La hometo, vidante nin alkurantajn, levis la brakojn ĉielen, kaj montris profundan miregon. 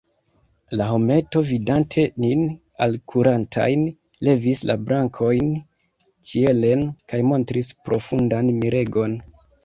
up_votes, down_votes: 0, 2